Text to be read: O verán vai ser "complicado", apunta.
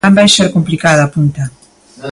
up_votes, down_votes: 0, 2